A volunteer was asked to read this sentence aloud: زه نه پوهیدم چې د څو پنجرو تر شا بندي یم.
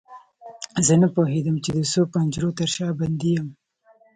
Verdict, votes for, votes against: rejected, 1, 2